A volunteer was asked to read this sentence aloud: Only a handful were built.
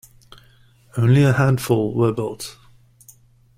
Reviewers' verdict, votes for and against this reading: accepted, 2, 0